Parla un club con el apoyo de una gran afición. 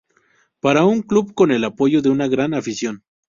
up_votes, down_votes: 0, 4